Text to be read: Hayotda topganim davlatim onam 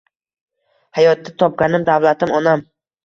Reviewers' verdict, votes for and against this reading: accepted, 2, 1